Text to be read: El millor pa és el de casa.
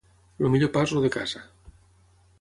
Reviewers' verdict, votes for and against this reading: rejected, 3, 6